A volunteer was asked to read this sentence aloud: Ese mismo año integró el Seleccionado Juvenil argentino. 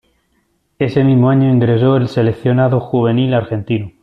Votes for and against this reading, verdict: 0, 2, rejected